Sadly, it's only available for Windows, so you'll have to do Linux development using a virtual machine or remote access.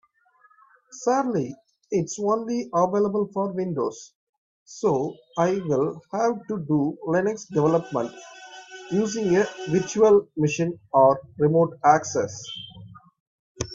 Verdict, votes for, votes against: rejected, 0, 4